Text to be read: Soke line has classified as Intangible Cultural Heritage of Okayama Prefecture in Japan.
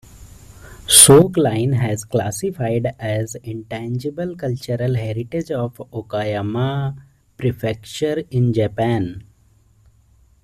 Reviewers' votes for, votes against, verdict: 2, 1, accepted